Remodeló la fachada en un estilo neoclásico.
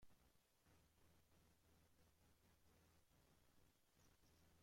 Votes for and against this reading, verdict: 0, 2, rejected